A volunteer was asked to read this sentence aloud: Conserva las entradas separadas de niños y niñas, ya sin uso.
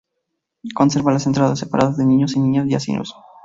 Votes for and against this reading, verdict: 0, 2, rejected